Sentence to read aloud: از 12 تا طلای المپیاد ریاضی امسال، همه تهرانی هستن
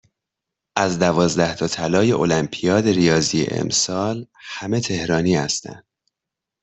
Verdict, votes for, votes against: rejected, 0, 2